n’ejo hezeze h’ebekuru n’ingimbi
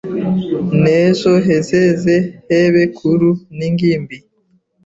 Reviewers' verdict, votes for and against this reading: rejected, 0, 2